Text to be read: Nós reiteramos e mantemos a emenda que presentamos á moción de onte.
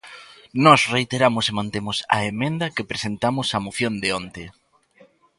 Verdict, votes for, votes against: accepted, 2, 0